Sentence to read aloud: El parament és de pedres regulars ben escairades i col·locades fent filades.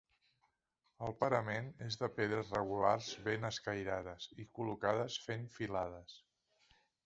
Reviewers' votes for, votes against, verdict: 2, 0, accepted